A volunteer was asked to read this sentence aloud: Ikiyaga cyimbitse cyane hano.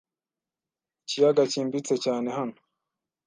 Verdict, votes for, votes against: accepted, 2, 0